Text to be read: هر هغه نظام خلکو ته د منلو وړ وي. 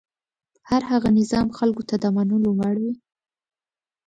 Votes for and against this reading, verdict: 2, 0, accepted